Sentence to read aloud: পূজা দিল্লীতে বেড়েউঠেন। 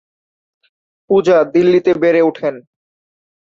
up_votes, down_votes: 2, 0